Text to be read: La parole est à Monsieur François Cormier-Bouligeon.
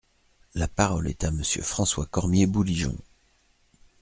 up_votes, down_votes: 2, 0